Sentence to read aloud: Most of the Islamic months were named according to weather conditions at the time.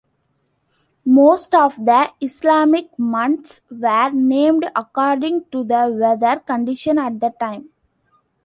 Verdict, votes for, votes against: rejected, 0, 2